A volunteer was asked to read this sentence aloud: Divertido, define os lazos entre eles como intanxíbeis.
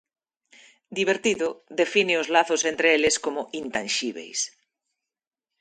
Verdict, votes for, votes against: accepted, 2, 1